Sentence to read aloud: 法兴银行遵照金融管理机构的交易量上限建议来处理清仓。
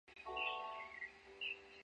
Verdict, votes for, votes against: rejected, 0, 2